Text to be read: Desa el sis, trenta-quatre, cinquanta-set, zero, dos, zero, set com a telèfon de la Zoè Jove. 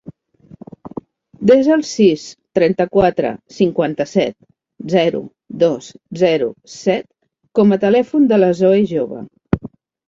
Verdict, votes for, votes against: accepted, 2, 0